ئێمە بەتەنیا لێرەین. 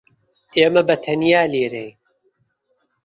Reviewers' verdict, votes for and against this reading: accepted, 2, 0